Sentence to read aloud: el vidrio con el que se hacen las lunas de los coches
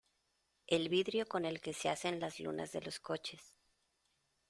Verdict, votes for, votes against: accepted, 2, 0